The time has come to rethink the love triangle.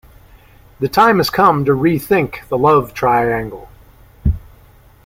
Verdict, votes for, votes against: accepted, 2, 0